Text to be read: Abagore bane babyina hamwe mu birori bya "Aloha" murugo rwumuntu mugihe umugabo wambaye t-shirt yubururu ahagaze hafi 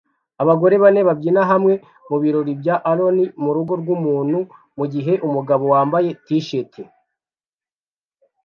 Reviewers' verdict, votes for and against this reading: rejected, 0, 2